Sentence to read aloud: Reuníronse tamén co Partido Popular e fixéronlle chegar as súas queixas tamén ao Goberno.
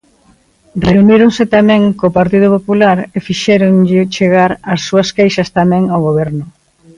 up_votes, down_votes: 2, 1